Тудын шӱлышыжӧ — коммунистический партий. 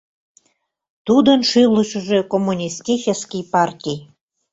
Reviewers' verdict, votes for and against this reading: accepted, 2, 0